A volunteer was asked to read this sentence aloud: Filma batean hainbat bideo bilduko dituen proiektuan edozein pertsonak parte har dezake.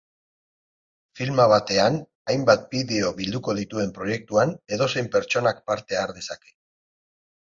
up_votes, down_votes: 4, 0